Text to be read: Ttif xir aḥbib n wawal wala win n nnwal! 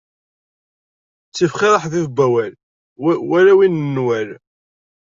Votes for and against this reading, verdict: 1, 2, rejected